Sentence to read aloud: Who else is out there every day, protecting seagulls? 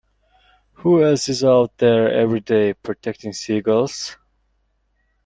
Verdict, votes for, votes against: accepted, 2, 0